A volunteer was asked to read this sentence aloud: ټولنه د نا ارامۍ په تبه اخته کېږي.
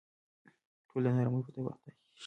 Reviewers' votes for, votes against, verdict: 0, 2, rejected